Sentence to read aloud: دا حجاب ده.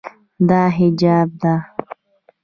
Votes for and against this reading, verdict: 3, 2, accepted